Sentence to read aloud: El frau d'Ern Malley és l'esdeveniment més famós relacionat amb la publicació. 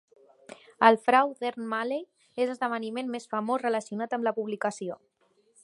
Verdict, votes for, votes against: accepted, 5, 0